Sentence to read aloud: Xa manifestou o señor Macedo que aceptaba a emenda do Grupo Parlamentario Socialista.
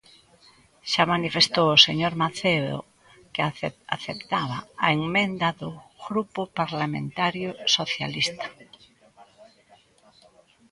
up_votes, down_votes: 0, 2